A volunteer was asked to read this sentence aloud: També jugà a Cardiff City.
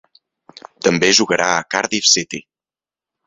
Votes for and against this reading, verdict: 2, 3, rejected